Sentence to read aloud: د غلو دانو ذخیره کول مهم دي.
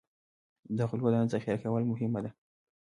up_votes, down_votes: 0, 2